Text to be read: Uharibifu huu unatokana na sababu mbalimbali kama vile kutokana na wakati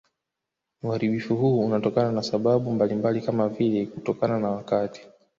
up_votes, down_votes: 0, 2